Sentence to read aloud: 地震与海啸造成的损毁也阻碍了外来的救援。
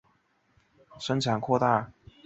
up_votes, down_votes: 0, 2